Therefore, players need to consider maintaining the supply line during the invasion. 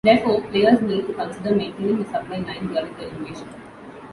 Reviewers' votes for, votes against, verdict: 1, 2, rejected